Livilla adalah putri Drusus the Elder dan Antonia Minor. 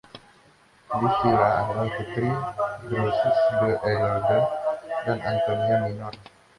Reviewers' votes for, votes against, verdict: 2, 1, accepted